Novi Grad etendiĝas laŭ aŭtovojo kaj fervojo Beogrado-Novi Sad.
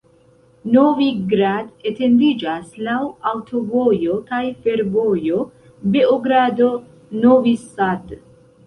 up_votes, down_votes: 1, 2